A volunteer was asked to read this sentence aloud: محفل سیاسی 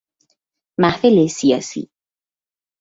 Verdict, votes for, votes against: accepted, 2, 0